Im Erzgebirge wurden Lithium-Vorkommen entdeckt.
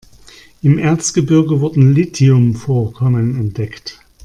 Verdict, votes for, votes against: rejected, 1, 2